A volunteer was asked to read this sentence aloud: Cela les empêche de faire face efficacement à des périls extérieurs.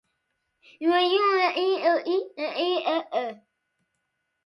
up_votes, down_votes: 0, 2